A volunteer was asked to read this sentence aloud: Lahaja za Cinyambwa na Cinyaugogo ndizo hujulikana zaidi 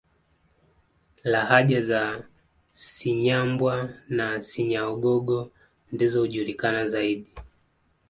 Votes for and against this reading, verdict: 2, 0, accepted